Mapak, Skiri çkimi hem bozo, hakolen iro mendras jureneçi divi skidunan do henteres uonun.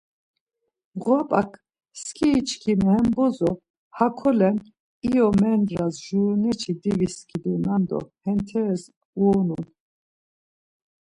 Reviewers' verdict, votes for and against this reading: rejected, 1, 2